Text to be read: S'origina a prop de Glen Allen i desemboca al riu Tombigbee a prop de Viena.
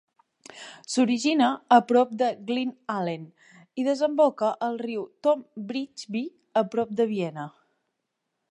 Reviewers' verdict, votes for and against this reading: rejected, 0, 2